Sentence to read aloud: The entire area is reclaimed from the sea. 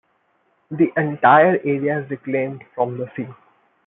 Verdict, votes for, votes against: accepted, 2, 0